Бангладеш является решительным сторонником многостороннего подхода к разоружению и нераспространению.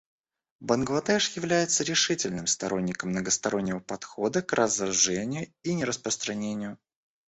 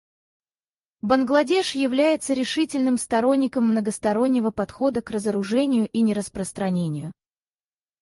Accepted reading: first